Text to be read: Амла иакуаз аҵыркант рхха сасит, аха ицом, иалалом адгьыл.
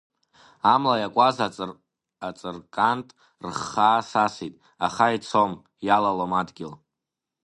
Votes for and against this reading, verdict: 1, 3, rejected